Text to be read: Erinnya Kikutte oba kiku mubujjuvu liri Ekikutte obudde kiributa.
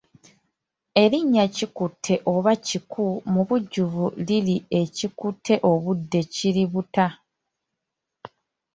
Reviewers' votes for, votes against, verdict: 2, 1, accepted